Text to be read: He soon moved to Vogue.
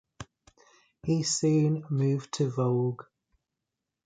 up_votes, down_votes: 0, 2